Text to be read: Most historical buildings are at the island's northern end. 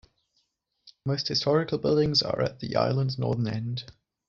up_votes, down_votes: 2, 0